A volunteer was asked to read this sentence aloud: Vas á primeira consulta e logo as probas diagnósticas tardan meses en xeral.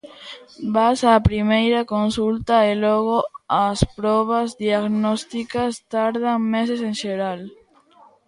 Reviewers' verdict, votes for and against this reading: accepted, 2, 0